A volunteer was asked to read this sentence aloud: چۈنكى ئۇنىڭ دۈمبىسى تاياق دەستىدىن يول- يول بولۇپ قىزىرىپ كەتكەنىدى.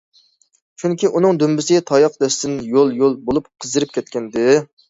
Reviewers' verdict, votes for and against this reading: accepted, 2, 1